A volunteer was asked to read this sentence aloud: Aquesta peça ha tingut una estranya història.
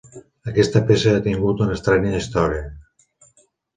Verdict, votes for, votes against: accepted, 2, 0